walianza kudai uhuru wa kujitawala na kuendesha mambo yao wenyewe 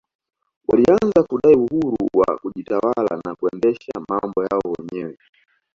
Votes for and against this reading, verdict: 2, 0, accepted